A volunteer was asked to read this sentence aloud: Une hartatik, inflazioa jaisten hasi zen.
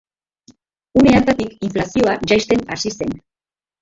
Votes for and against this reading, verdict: 1, 4, rejected